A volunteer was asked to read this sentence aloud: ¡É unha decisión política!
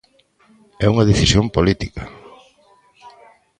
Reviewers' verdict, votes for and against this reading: accepted, 2, 0